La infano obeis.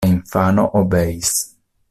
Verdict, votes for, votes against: rejected, 1, 2